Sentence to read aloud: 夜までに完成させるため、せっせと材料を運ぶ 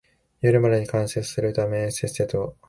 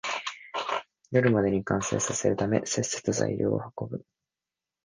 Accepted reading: second